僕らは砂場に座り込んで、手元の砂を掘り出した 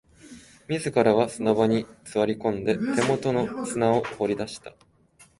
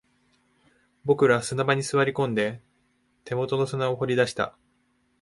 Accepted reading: second